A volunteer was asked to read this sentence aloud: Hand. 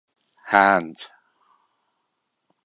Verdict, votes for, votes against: accepted, 2, 0